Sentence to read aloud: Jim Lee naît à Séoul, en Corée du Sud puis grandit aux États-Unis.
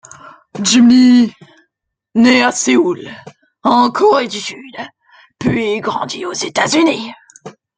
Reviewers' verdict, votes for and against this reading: accepted, 2, 0